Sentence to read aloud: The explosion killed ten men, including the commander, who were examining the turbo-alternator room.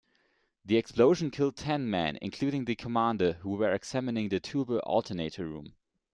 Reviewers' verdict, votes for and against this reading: rejected, 1, 2